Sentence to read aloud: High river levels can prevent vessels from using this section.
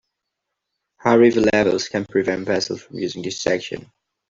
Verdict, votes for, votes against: accepted, 2, 1